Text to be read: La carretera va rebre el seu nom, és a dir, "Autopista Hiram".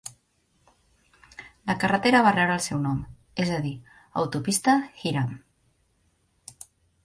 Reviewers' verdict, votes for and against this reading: accepted, 2, 0